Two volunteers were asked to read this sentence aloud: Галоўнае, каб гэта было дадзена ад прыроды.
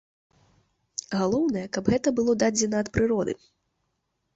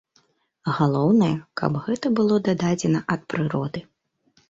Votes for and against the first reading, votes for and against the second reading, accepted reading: 4, 0, 1, 2, first